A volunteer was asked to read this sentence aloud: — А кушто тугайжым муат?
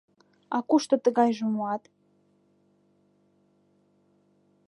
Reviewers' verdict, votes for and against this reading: rejected, 0, 2